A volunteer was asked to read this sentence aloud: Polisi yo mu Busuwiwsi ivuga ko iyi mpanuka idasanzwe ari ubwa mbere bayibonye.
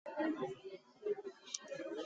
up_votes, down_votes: 0, 2